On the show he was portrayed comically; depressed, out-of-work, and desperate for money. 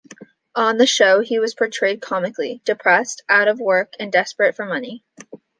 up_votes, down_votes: 2, 0